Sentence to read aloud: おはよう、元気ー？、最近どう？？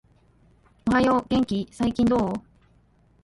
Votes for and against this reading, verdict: 1, 2, rejected